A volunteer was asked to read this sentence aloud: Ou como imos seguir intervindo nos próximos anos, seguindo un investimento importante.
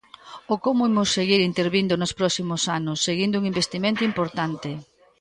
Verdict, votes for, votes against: accepted, 2, 0